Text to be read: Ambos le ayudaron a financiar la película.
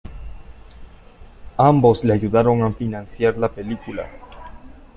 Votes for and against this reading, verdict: 2, 1, accepted